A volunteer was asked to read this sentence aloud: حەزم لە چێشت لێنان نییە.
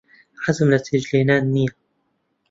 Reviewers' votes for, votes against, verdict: 2, 0, accepted